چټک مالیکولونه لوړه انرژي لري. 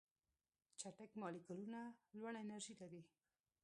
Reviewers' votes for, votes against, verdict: 1, 2, rejected